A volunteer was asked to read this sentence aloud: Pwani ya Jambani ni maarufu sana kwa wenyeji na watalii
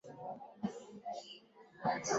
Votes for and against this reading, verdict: 0, 2, rejected